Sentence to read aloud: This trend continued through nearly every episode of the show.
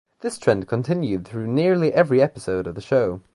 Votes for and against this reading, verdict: 2, 0, accepted